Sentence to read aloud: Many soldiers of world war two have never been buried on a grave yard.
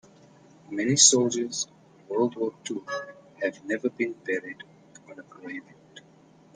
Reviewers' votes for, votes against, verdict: 1, 2, rejected